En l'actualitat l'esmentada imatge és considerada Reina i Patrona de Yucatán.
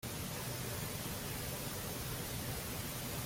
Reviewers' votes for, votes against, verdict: 0, 2, rejected